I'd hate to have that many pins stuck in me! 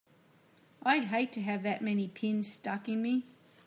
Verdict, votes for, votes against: accepted, 3, 0